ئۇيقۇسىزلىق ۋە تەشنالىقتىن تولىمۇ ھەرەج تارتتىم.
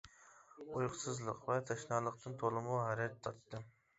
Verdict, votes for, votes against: accepted, 2, 0